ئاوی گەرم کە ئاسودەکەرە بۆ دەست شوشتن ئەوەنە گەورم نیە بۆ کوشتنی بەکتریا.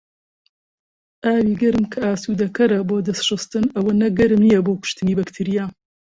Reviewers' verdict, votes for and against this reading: accepted, 2, 0